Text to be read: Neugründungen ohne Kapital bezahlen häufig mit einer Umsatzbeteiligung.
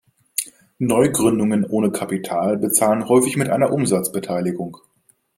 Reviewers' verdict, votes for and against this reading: accepted, 2, 0